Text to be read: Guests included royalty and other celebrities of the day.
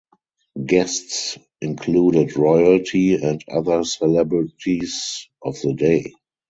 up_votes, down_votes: 2, 2